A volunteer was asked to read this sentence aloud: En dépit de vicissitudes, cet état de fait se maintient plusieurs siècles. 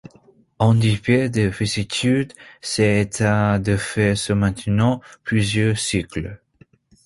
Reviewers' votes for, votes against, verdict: 0, 2, rejected